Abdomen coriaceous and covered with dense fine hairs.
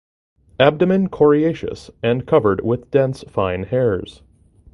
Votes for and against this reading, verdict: 2, 0, accepted